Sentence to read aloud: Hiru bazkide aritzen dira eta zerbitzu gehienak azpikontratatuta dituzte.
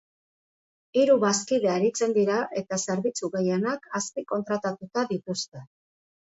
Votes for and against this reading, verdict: 2, 0, accepted